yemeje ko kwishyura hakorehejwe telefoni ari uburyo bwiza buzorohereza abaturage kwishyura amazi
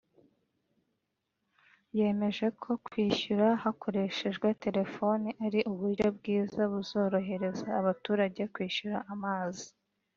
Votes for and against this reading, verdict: 2, 0, accepted